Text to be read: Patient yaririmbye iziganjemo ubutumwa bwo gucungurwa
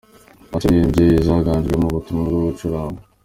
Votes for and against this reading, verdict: 0, 2, rejected